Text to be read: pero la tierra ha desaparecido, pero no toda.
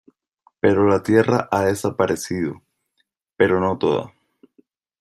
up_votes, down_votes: 2, 0